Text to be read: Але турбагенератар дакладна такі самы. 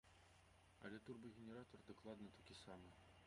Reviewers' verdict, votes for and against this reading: rejected, 0, 2